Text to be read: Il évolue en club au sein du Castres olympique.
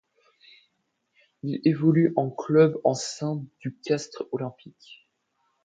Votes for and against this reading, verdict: 0, 2, rejected